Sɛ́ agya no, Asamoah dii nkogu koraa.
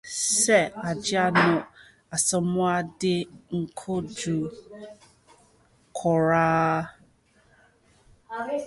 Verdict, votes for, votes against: rejected, 0, 2